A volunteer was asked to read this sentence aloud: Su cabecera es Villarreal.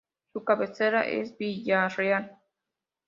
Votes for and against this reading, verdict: 2, 0, accepted